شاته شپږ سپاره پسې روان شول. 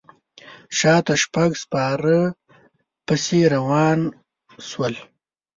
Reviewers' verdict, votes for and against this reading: rejected, 1, 2